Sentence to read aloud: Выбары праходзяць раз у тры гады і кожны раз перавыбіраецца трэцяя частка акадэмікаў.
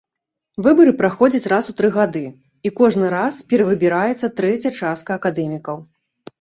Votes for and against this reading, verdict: 2, 0, accepted